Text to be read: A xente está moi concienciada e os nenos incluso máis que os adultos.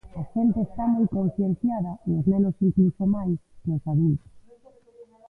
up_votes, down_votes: 0, 2